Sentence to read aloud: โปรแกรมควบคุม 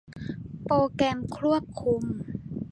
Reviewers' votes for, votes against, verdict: 1, 2, rejected